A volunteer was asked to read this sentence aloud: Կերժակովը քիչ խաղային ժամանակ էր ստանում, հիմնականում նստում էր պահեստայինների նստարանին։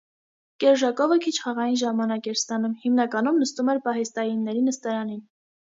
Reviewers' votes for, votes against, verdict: 2, 0, accepted